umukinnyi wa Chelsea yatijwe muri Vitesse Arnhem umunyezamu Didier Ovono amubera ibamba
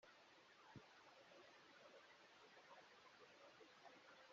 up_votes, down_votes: 0, 2